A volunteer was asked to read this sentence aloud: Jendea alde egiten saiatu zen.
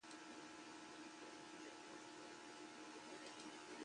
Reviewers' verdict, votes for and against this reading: rejected, 0, 2